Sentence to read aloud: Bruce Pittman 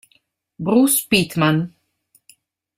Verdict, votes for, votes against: rejected, 1, 2